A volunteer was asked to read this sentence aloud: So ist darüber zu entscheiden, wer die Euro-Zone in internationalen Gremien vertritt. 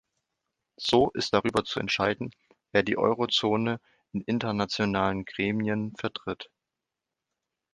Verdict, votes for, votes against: accepted, 2, 0